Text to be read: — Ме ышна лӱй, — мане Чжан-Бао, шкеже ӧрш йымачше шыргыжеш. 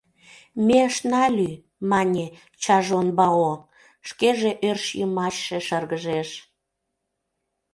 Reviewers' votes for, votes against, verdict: 0, 2, rejected